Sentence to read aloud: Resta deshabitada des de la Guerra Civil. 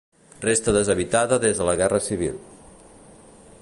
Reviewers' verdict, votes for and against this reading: accepted, 2, 0